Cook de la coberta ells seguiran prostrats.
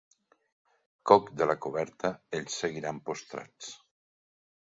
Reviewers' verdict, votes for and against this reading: accepted, 2, 1